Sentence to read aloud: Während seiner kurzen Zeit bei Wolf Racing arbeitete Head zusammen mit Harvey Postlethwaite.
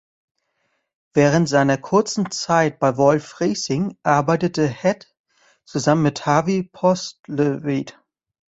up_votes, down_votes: 0, 2